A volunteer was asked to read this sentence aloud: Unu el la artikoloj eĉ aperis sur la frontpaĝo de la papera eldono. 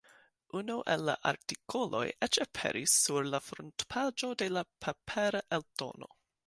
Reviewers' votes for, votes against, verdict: 2, 1, accepted